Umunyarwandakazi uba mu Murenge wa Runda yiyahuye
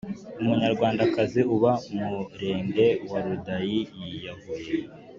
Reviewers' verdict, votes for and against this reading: accepted, 3, 1